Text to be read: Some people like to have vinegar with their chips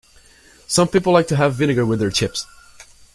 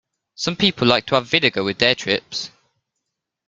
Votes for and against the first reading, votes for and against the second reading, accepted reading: 2, 0, 0, 2, first